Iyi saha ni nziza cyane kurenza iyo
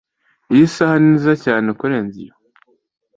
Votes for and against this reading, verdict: 2, 0, accepted